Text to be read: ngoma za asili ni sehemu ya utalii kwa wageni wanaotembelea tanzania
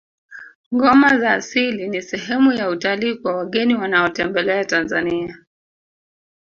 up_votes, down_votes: 6, 0